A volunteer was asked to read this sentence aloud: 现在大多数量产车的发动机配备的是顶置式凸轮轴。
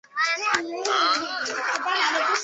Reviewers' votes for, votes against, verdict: 0, 3, rejected